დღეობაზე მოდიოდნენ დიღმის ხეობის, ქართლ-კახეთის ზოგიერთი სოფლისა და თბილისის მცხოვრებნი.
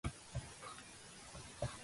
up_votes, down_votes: 0, 2